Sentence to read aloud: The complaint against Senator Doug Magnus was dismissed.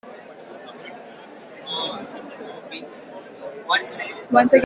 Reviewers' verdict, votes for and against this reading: rejected, 0, 2